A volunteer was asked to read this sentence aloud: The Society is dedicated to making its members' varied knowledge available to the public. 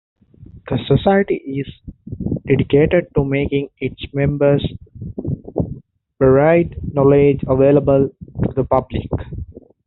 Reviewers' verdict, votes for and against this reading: accepted, 2, 1